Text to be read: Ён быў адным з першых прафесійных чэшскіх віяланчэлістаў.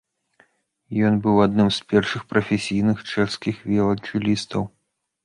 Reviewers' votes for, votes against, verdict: 2, 0, accepted